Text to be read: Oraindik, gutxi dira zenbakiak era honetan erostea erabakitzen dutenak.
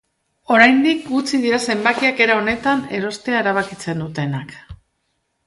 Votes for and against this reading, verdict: 4, 0, accepted